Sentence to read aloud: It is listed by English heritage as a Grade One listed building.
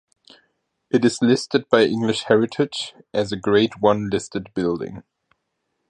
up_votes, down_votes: 2, 0